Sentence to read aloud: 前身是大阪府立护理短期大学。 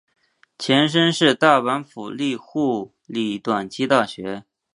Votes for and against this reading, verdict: 1, 2, rejected